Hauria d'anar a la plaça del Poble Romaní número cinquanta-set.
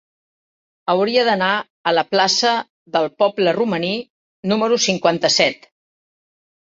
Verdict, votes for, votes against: accepted, 3, 0